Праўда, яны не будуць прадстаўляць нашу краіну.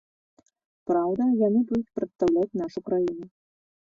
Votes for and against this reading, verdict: 0, 2, rejected